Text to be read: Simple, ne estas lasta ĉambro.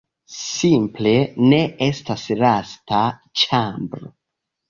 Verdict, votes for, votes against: rejected, 1, 2